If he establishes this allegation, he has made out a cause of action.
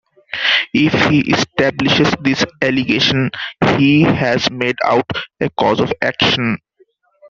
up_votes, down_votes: 2, 1